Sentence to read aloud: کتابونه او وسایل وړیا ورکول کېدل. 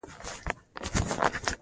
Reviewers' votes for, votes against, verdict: 0, 2, rejected